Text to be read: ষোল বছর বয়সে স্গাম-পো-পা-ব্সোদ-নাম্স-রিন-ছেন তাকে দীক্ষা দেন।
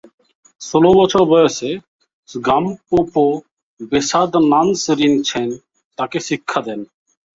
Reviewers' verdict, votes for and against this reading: rejected, 0, 2